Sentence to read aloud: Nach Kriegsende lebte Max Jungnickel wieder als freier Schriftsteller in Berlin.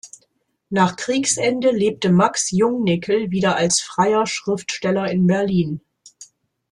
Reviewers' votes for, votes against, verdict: 2, 0, accepted